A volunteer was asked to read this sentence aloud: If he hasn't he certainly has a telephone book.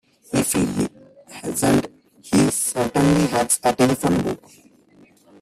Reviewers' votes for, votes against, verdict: 0, 2, rejected